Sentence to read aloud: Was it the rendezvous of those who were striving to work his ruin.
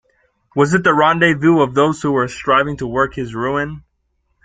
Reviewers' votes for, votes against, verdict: 1, 2, rejected